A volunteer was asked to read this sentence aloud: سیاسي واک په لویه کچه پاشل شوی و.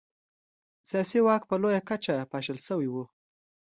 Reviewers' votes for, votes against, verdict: 2, 0, accepted